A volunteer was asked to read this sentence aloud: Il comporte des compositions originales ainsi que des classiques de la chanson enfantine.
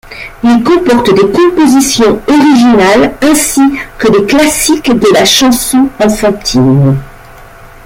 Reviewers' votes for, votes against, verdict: 2, 0, accepted